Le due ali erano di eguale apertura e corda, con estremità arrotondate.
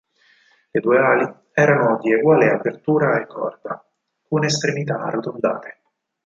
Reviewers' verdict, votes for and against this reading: accepted, 4, 0